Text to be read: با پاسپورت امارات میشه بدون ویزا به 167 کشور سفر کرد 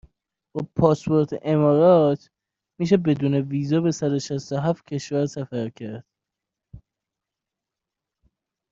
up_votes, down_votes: 0, 2